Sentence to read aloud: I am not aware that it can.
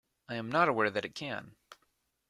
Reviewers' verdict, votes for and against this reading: accepted, 2, 0